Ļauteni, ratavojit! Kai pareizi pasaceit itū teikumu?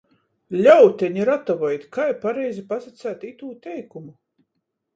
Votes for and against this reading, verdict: 14, 0, accepted